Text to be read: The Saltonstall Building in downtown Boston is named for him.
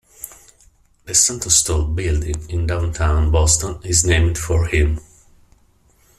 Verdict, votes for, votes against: rejected, 0, 2